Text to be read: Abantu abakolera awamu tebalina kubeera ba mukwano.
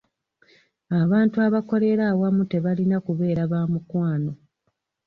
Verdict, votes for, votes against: accepted, 2, 0